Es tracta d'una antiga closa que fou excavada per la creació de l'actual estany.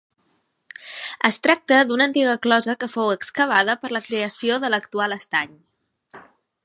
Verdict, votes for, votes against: accepted, 3, 0